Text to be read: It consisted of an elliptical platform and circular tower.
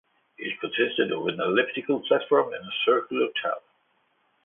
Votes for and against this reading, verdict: 0, 2, rejected